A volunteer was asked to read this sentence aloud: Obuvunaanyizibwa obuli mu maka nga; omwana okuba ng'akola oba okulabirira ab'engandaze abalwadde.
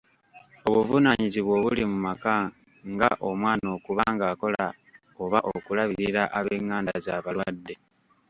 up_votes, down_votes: 0, 2